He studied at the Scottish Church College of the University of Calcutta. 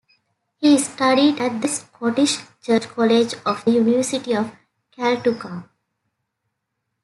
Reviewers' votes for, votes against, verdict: 0, 2, rejected